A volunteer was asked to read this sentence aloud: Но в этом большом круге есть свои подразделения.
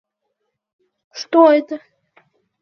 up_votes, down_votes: 0, 2